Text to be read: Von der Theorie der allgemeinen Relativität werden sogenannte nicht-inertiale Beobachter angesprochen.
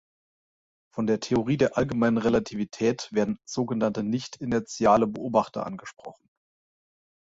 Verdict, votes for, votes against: accepted, 4, 0